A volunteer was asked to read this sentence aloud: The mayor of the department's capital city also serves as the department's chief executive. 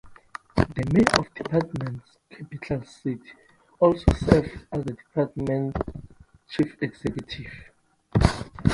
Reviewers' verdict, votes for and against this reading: rejected, 0, 2